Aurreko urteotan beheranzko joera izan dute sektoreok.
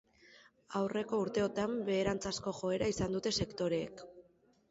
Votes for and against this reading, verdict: 3, 1, accepted